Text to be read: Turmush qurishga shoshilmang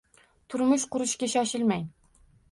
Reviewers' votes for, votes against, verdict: 2, 0, accepted